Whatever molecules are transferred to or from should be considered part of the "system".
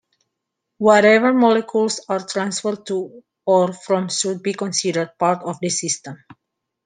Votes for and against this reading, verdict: 2, 1, accepted